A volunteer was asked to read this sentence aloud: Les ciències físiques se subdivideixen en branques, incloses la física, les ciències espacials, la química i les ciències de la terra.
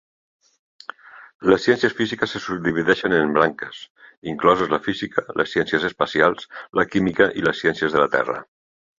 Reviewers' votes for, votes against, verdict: 2, 0, accepted